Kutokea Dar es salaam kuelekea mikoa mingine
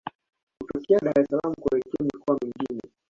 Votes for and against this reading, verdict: 0, 2, rejected